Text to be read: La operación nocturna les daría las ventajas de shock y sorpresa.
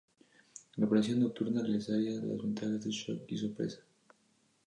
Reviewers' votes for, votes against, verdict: 0, 2, rejected